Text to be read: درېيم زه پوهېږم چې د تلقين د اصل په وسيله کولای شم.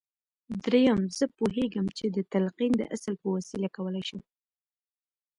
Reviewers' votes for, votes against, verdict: 3, 2, accepted